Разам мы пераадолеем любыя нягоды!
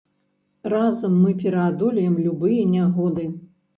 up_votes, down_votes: 2, 0